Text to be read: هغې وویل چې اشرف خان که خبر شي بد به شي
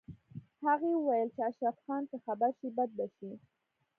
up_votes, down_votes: 2, 0